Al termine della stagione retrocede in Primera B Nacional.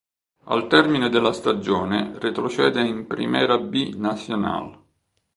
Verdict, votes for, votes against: accepted, 2, 0